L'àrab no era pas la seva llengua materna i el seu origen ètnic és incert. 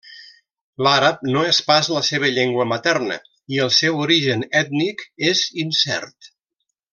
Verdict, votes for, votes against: rejected, 0, 2